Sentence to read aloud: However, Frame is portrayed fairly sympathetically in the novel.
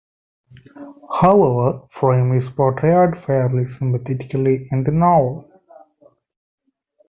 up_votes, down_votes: 2, 0